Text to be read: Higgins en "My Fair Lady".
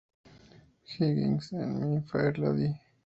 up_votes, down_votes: 0, 2